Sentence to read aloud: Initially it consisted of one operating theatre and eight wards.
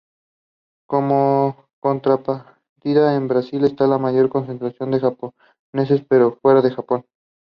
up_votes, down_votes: 0, 2